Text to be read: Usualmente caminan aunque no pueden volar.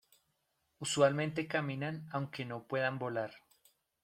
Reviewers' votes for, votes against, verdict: 1, 2, rejected